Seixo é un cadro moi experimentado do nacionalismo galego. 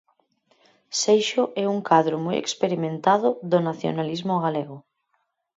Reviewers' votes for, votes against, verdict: 4, 0, accepted